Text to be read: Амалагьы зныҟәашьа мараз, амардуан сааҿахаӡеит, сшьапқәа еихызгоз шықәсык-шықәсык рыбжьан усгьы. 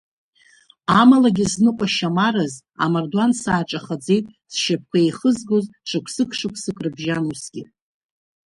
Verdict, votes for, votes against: rejected, 1, 2